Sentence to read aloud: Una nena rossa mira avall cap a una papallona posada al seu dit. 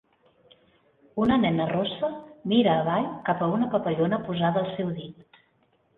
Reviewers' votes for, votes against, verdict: 5, 0, accepted